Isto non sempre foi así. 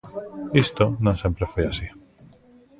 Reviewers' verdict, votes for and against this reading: accepted, 2, 0